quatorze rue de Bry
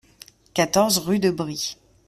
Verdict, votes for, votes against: accepted, 2, 0